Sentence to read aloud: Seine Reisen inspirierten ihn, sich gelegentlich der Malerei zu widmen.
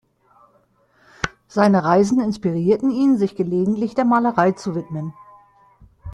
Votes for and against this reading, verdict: 2, 0, accepted